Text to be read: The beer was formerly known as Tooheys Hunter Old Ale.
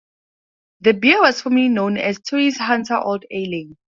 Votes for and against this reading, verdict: 2, 2, rejected